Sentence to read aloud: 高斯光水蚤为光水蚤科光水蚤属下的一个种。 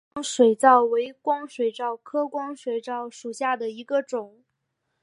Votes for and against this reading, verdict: 3, 0, accepted